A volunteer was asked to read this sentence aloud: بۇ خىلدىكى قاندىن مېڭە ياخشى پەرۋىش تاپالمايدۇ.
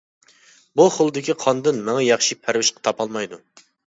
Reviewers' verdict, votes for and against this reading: rejected, 0, 2